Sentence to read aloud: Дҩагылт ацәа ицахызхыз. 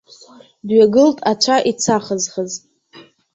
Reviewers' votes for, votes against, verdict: 0, 2, rejected